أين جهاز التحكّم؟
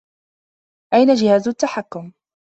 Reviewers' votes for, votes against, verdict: 2, 0, accepted